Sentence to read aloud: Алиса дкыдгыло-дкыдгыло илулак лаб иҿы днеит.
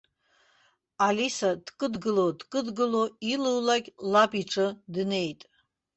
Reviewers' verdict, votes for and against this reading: accepted, 2, 0